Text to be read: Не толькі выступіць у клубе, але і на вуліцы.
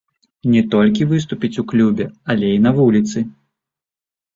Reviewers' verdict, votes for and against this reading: rejected, 1, 2